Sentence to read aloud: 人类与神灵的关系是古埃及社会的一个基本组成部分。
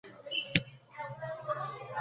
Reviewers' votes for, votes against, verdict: 0, 3, rejected